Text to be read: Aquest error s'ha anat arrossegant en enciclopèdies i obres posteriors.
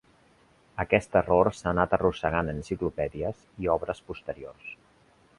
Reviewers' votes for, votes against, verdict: 0, 4, rejected